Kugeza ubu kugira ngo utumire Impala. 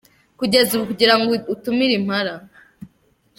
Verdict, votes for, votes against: accepted, 2, 1